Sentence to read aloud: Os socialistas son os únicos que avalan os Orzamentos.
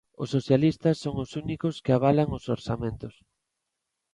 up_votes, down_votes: 2, 0